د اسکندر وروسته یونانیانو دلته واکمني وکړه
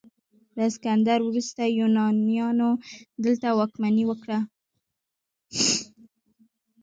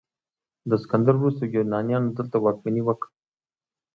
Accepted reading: second